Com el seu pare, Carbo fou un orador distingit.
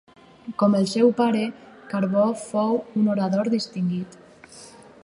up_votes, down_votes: 4, 0